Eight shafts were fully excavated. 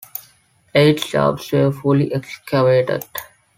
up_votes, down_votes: 3, 0